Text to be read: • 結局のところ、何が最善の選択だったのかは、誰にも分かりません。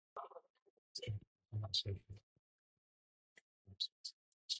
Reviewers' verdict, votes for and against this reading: rejected, 0, 2